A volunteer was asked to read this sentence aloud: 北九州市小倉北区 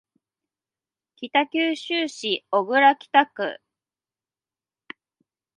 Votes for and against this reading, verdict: 1, 2, rejected